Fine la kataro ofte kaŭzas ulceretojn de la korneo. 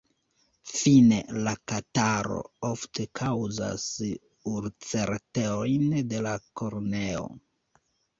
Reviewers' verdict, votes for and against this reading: rejected, 0, 2